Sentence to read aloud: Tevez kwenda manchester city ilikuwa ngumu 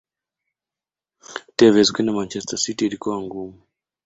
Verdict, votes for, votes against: accepted, 2, 0